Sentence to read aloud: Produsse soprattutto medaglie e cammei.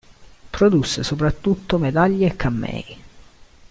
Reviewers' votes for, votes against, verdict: 2, 0, accepted